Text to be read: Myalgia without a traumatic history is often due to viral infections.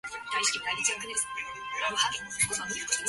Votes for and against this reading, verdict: 0, 2, rejected